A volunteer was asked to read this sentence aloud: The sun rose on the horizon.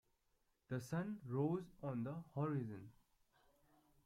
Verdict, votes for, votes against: rejected, 0, 2